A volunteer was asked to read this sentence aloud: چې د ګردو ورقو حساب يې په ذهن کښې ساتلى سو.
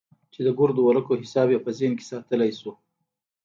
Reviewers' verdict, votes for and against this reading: accepted, 2, 0